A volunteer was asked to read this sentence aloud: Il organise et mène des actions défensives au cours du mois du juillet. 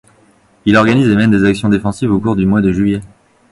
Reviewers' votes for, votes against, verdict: 2, 0, accepted